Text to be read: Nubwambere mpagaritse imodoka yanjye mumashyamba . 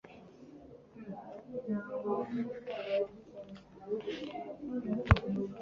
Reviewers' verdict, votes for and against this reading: rejected, 0, 2